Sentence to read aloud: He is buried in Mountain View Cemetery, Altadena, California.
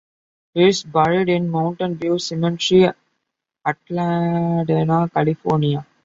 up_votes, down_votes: 2, 0